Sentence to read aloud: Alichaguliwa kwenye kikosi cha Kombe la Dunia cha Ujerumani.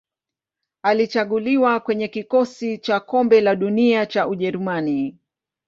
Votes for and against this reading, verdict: 7, 1, accepted